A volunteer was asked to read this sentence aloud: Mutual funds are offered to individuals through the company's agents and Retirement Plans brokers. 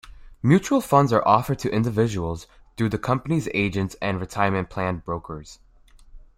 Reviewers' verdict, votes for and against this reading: accepted, 2, 1